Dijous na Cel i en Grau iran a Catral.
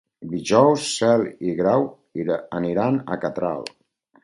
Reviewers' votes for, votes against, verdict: 0, 4, rejected